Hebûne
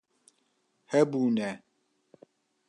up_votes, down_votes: 2, 0